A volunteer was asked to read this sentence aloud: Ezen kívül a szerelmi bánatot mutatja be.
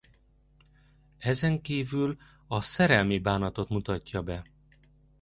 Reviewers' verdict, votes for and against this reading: accepted, 2, 0